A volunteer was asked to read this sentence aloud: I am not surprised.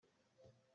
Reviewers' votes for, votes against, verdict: 0, 2, rejected